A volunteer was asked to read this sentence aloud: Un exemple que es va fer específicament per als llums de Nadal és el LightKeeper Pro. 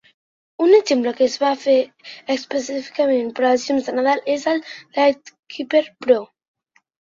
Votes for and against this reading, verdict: 2, 0, accepted